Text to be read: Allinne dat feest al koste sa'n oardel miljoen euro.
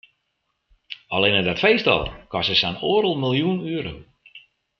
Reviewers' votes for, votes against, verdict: 2, 0, accepted